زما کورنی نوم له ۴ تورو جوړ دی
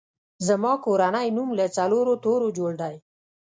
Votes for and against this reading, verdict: 0, 2, rejected